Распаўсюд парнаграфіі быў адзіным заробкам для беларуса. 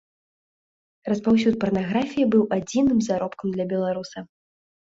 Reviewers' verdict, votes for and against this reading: accepted, 2, 0